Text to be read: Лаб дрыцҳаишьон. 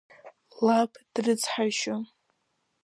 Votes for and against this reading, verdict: 2, 0, accepted